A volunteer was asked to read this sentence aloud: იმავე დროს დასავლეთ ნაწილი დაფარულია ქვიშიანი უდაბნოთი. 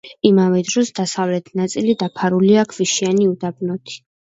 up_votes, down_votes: 2, 0